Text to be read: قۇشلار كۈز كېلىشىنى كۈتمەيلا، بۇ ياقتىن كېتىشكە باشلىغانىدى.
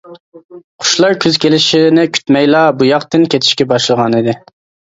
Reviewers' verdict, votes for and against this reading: accepted, 2, 1